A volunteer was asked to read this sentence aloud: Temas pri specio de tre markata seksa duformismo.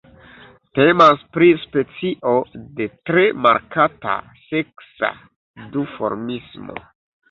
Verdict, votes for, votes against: accepted, 2, 1